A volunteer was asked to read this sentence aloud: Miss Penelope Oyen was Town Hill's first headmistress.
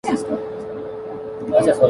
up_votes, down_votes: 0, 2